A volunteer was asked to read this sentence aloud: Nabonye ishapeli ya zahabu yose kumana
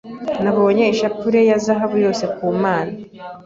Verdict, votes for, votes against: rejected, 1, 2